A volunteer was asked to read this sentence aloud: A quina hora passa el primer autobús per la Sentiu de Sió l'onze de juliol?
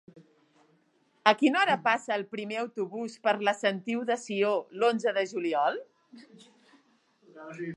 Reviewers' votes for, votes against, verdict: 3, 0, accepted